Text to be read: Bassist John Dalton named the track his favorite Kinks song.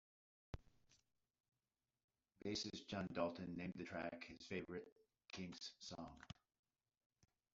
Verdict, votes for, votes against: accepted, 2, 0